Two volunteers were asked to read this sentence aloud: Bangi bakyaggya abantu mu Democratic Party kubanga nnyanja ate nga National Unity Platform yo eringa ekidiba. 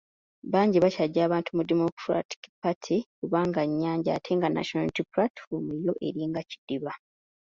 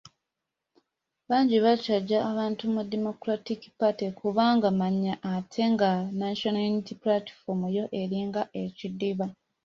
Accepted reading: first